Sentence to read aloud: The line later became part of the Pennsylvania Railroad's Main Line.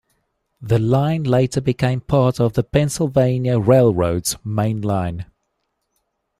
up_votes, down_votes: 2, 0